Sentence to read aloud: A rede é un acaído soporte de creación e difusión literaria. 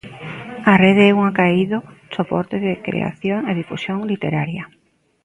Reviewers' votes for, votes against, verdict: 2, 0, accepted